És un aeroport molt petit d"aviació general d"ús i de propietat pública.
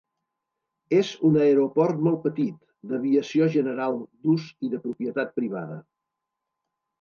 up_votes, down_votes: 1, 2